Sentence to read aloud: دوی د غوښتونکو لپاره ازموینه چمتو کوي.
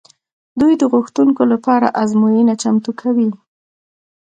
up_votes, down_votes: 2, 0